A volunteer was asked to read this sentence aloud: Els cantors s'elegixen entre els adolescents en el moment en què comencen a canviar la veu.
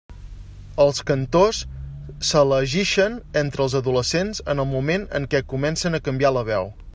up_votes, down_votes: 2, 0